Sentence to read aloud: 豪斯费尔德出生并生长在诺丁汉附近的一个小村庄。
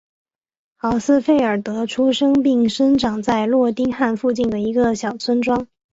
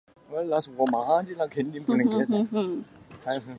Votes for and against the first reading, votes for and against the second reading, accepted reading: 3, 0, 0, 4, first